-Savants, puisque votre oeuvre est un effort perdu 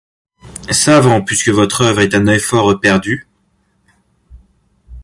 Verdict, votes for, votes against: rejected, 1, 2